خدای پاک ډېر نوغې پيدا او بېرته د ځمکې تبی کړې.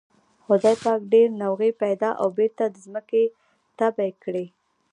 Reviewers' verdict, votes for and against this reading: rejected, 0, 2